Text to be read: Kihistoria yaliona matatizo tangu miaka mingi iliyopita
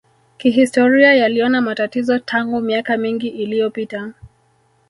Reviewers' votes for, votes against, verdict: 0, 2, rejected